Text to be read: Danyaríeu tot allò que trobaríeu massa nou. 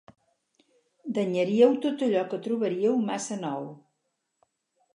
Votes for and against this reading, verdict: 4, 0, accepted